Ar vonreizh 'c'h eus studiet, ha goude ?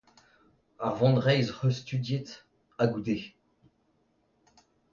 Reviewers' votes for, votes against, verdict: 2, 0, accepted